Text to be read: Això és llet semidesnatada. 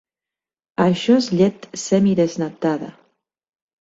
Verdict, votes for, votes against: rejected, 1, 2